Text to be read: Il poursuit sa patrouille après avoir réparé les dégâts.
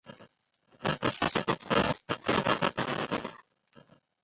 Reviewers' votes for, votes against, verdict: 0, 2, rejected